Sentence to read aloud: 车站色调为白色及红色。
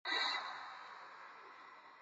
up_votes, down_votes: 1, 2